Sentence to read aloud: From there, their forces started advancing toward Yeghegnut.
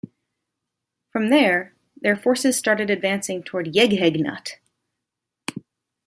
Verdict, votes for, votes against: rejected, 0, 2